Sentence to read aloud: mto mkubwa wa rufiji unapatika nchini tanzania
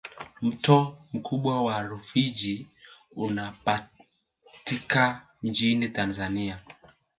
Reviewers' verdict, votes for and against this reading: accepted, 3, 1